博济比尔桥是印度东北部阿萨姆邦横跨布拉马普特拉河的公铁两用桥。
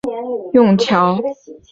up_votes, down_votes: 1, 4